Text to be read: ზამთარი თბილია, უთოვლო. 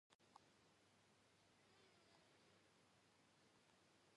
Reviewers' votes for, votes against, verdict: 1, 2, rejected